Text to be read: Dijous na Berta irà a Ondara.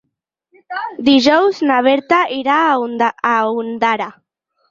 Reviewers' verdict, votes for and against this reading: rejected, 2, 4